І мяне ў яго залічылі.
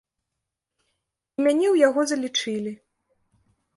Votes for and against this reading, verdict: 1, 2, rejected